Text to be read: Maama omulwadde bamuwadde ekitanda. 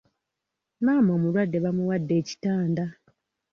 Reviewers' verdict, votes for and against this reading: rejected, 1, 2